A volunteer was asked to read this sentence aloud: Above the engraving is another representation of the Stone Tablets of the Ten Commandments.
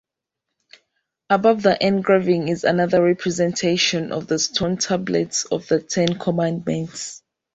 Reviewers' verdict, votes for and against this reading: accepted, 2, 0